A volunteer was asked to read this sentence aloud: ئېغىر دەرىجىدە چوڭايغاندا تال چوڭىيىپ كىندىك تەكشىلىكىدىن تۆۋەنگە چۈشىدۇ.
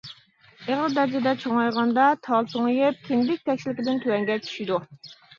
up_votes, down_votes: 1, 2